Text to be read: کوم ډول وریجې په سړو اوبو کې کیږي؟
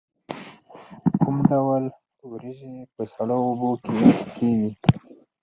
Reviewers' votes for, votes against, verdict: 0, 4, rejected